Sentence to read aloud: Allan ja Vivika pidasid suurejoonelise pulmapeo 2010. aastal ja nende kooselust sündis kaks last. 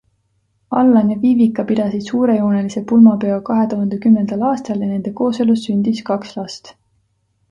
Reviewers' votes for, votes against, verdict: 0, 2, rejected